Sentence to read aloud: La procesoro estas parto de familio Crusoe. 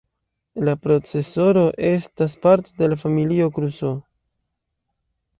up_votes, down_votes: 2, 0